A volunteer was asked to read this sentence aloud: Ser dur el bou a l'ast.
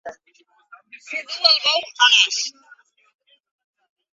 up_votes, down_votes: 0, 2